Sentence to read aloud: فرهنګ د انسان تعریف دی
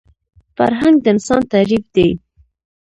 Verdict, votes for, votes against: rejected, 1, 2